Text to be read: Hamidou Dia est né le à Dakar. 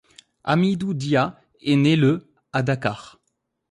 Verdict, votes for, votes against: accepted, 2, 0